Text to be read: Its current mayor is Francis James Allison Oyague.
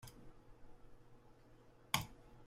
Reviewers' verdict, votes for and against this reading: rejected, 0, 2